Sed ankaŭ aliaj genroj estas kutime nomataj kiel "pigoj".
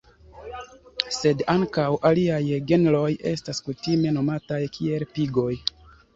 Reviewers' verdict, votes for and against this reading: rejected, 1, 2